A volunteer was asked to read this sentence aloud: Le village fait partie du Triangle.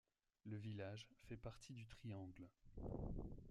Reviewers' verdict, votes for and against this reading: accepted, 2, 1